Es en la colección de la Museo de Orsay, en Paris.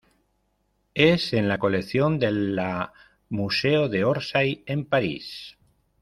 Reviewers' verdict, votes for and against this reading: rejected, 1, 2